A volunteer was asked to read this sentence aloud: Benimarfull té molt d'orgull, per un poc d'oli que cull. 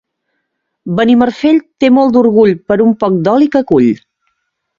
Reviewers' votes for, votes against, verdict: 1, 2, rejected